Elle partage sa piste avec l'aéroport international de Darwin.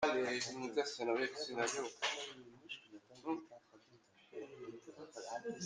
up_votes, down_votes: 0, 2